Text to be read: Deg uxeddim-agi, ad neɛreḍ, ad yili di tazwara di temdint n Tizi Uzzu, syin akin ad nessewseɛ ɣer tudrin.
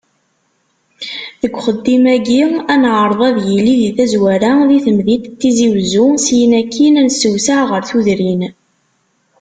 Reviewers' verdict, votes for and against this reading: accepted, 2, 1